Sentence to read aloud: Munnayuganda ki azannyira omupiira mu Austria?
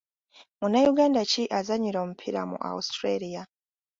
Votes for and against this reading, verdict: 3, 0, accepted